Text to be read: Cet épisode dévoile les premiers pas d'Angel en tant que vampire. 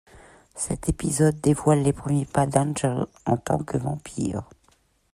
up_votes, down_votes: 2, 0